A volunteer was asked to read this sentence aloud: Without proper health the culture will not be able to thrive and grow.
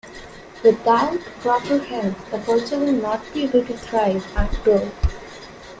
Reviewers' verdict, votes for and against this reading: rejected, 1, 2